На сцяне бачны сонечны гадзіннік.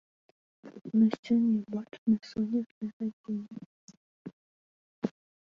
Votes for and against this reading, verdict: 1, 2, rejected